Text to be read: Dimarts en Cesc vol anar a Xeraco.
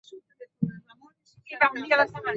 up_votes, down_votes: 0, 2